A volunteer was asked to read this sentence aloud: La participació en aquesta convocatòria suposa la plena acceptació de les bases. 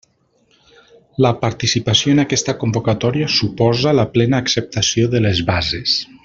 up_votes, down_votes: 3, 0